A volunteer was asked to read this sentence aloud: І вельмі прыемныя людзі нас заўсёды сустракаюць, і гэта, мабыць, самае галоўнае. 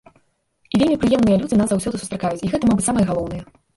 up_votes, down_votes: 1, 2